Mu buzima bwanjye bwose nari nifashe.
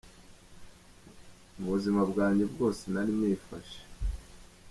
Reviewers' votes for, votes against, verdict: 0, 2, rejected